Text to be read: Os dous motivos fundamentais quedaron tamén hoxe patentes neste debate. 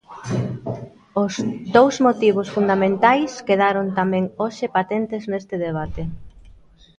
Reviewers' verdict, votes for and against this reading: accepted, 2, 0